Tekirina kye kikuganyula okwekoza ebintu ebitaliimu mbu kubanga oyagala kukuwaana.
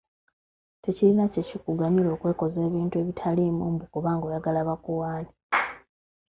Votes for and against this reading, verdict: 0, 2, rejected